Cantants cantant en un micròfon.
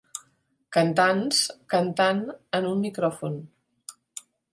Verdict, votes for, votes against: accepted, 2, 0